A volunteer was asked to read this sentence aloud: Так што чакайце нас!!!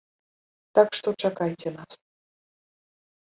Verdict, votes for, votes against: rejected, 1, 2